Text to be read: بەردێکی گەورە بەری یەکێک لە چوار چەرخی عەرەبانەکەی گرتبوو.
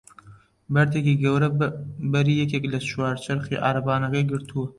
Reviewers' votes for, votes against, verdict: 1, 2, rejected